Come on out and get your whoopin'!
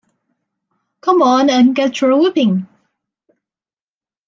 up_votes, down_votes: 0, 2